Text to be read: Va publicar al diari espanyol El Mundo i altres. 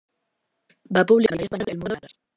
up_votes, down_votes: 0, 2